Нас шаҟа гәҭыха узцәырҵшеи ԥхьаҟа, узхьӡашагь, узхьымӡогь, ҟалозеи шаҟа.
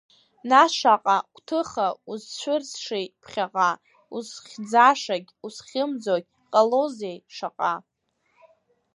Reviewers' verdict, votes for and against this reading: rejected, 1, 2